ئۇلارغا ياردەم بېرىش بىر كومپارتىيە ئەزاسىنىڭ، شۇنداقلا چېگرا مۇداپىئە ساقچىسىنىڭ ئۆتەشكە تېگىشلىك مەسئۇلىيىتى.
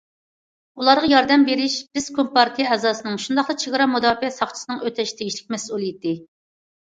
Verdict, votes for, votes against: rejected, 1, 2